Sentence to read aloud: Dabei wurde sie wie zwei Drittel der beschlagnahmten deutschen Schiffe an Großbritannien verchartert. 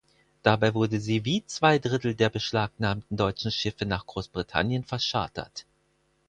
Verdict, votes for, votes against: rejected, 0, 4